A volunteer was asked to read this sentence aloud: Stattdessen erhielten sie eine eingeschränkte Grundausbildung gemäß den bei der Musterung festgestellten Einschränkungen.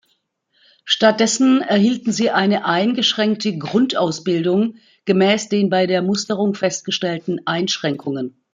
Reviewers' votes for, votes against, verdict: 2, 0, accepted